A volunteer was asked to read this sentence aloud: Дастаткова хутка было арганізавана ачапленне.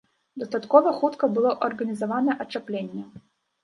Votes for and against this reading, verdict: 1, 2, rejected